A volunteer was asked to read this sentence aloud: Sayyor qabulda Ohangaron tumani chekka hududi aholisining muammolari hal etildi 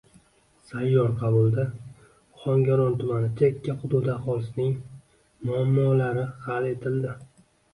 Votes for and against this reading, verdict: 2, 1, accepted